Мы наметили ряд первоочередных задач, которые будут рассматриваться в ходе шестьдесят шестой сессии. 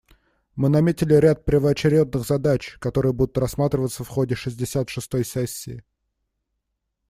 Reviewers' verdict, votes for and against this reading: rejected, 1, 2